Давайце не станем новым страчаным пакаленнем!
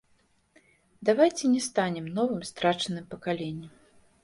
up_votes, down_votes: 0, 2